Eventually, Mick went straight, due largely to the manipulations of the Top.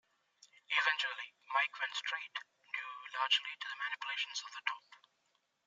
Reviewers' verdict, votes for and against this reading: rejected, 1, 2